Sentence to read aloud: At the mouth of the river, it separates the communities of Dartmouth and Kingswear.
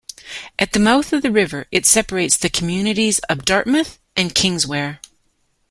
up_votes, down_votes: 2, 0